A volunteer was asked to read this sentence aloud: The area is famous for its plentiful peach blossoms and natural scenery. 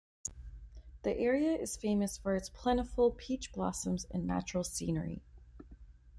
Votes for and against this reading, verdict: 2, 0, accepted